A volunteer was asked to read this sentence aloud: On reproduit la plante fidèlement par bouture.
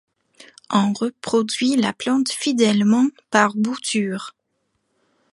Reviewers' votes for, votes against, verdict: 2, 0, accepted